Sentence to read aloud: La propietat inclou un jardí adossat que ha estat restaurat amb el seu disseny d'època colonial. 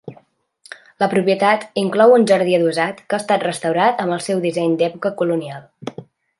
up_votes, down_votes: 3, 0